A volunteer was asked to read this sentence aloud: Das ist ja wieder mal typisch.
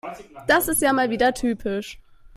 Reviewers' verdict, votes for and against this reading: rejected, 1, 2